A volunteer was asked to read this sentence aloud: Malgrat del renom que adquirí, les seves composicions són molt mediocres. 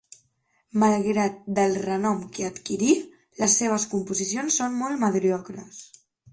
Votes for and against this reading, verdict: 0, 2, rejected